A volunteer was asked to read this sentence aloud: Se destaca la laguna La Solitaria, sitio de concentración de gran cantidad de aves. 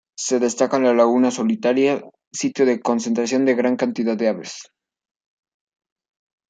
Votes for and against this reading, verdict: 1, 2, rejected